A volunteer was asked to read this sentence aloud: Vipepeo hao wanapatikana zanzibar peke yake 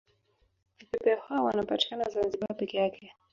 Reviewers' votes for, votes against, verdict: 0, 2, rejected